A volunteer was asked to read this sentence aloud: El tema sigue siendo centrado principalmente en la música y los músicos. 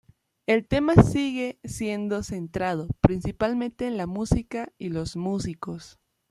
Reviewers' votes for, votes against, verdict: 2, 0, accepted